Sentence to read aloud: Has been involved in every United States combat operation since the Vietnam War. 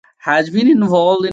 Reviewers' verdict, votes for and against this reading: rejected, 1, 2